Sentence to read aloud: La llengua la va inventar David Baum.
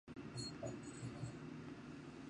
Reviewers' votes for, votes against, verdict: 0, 2, rejected